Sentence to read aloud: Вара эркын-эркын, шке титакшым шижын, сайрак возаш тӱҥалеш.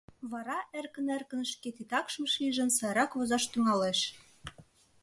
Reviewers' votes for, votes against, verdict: 2, 0, accepted